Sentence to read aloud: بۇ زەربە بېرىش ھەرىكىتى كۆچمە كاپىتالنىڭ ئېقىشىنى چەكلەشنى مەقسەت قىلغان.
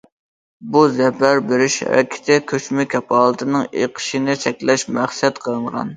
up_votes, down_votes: 0, 2